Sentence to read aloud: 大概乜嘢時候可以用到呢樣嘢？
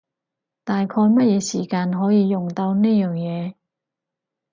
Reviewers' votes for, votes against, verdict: 0, 4, rejected